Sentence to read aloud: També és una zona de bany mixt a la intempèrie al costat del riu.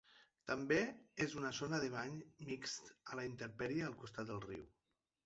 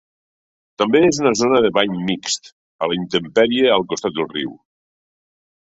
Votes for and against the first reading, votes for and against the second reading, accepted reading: 1, 2, 2, 0, second